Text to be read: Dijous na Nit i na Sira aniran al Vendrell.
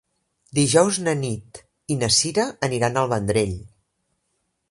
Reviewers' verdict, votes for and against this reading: accepted, 2, 0